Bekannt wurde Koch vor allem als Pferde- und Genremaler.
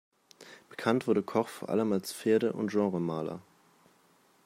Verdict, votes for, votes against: accepted, 2, 0